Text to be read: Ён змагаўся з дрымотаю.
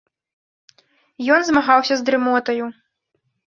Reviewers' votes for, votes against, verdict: 2, 0, accepted